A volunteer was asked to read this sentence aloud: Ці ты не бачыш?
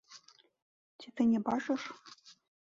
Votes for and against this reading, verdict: 1, 2, rejected